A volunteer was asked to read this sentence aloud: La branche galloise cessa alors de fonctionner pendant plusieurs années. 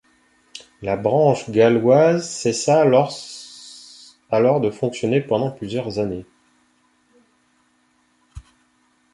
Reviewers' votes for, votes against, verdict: 0, 2, rejected